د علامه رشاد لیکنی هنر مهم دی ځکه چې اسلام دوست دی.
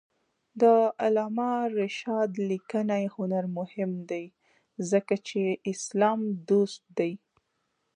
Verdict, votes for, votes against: accepted, 2, 0